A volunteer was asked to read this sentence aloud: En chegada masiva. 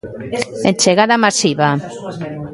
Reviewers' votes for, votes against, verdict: 0, 2, rejected